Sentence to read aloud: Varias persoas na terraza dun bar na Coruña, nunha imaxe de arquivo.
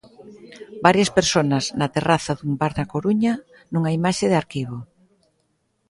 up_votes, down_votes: 1, 2